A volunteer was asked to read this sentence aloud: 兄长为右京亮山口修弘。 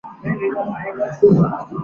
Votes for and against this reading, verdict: 0, 2, rejected